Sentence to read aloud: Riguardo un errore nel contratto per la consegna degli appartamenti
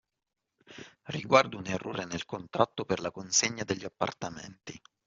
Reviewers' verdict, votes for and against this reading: accepted, 2, 0